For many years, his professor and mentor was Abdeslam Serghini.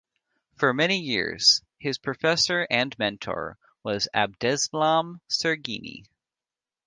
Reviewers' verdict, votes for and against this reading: rejected, 1, 2